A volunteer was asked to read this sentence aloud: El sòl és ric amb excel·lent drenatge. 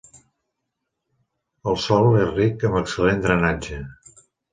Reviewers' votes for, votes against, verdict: 3, 0, accepted